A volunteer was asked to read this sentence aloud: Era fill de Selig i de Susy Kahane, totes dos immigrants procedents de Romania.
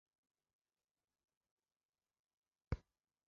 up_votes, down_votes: 0, 2